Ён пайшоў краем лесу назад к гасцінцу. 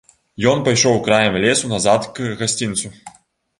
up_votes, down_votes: 3, 0